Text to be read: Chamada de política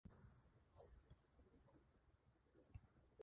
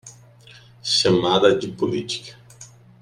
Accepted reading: second